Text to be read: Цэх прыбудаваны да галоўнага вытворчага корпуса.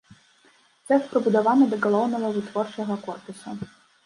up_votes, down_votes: 0, 2